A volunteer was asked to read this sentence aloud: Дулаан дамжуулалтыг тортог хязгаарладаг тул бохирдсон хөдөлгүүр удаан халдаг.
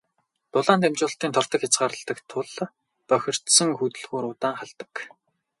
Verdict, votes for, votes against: rejected, 2, 2